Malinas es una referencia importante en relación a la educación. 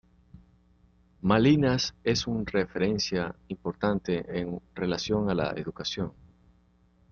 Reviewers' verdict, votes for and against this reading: rejected, 0, 2